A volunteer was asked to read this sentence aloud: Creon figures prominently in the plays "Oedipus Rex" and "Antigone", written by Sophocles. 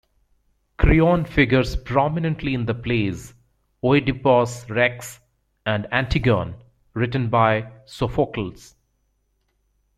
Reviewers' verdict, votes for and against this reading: rejected, 0, 2